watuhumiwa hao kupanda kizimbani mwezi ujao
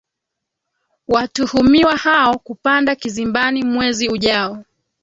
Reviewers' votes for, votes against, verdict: 1, 2, rejected